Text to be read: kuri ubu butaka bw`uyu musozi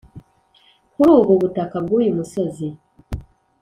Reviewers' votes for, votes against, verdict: 2, 0, accepted